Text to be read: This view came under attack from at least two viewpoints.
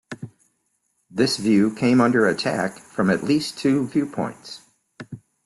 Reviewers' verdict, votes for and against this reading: accepted, 2, 0